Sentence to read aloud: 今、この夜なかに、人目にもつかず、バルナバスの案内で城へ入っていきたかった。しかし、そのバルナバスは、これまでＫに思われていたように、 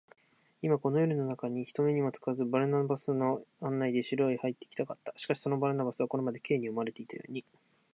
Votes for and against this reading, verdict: 1, 2, rejected